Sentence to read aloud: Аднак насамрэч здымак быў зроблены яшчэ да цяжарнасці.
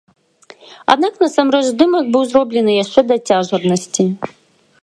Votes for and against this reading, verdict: 1, 3, rejected